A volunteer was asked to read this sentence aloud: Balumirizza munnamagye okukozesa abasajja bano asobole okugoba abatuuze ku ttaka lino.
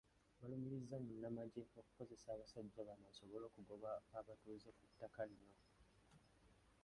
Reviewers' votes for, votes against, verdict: 1, 2, rejected